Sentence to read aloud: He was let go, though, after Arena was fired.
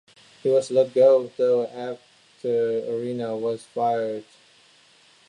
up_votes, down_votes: 2, 0